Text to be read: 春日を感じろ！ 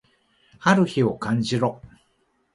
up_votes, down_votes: 1, 2